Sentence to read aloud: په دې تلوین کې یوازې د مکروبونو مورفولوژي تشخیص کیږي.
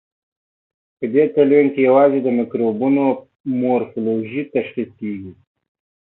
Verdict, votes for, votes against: accepted, 2, 0